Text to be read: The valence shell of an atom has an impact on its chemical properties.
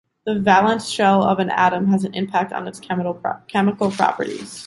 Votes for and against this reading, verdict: 0, 2, rejected